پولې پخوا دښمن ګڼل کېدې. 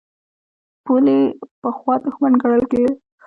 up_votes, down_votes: 1, 2